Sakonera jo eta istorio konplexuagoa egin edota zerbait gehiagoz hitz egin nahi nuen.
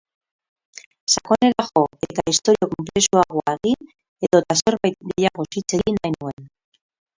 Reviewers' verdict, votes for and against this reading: rejected, 0, 2